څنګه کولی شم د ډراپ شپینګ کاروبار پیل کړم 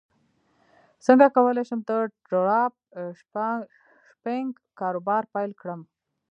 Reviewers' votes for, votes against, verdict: 0, 2, rejected